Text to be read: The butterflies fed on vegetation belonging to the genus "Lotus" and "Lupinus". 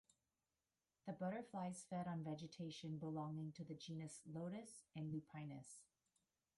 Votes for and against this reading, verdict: 1, 2, rejected